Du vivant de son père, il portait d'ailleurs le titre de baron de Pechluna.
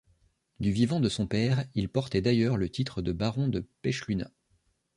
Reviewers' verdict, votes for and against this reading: accepted, 2, 0